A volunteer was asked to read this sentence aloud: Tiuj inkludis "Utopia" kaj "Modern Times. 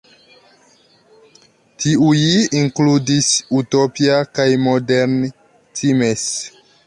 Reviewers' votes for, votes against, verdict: 0, 2, rejected